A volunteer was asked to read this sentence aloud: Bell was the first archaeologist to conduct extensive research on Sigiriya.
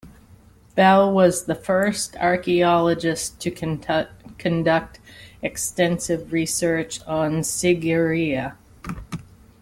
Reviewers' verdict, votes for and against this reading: rejected, 1, 2